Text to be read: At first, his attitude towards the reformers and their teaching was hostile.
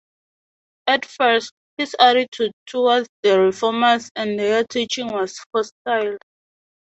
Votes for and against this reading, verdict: 4, 0, accepted